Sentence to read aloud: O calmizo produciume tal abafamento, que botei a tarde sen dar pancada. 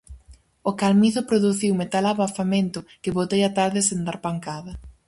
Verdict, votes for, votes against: accepted, 4, 0